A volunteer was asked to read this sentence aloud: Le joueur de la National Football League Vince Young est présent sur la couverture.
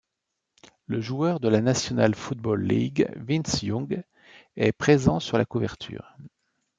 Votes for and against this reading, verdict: 2, 0, accepted